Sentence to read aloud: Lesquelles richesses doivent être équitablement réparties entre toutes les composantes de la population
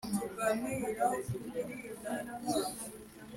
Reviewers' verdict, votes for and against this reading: rejected, 0, 3